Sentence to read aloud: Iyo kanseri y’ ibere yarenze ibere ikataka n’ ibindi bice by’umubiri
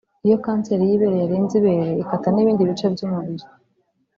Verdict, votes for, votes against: rejected, 1, 2